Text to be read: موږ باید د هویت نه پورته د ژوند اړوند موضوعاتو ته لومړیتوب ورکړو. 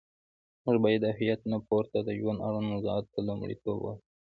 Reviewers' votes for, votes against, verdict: 1, 2, rejected